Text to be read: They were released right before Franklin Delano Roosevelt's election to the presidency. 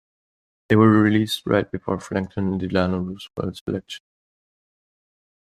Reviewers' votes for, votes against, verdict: 0, 2, rejected